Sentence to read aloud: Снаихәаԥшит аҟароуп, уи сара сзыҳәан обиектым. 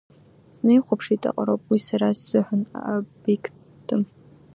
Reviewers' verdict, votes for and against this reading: rejected, 1, 2